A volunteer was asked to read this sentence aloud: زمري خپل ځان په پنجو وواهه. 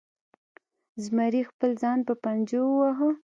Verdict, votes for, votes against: accepted, 2, 0